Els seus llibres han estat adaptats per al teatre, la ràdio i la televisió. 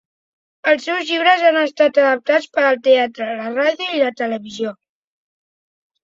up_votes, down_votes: 2, 0